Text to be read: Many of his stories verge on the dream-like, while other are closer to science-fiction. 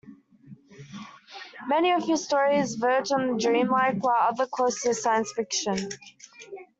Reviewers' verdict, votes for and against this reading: rejected, 1, 2